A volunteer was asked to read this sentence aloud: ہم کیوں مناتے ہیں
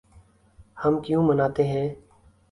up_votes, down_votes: 2, 0